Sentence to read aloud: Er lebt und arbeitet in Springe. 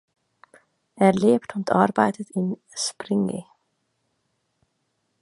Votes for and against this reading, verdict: 3, 1, accepted